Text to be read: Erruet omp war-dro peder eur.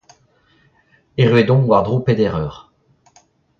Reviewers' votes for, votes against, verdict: 0, 2, rejected